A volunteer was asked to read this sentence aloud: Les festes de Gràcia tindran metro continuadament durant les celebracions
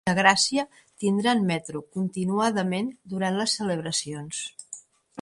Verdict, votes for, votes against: rejected, 1, 2